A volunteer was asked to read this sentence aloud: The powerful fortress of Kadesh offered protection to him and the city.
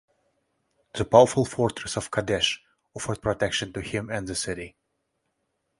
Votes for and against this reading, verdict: 1, 2, rejected